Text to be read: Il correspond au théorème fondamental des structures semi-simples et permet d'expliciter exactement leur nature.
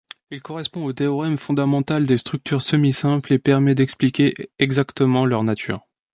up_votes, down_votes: 1, 2